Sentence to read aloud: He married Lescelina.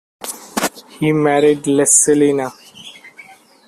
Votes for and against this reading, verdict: 2, 0, accepted